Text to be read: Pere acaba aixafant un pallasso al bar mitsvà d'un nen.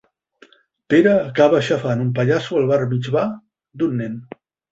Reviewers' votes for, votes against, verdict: 6, 0, accepted